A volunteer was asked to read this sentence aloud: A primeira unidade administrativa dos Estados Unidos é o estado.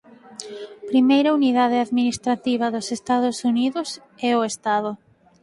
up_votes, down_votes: 2, 4